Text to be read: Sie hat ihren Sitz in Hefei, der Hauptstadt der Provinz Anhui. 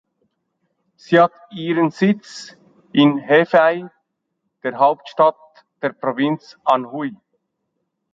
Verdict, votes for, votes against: accepted, 2, 0